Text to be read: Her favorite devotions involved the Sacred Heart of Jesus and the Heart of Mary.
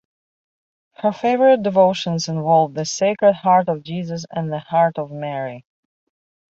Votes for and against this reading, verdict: 2, 0, accepted